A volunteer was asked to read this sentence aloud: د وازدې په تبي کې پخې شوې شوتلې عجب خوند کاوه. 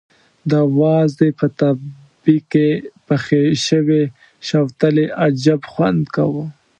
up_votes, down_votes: 1, 2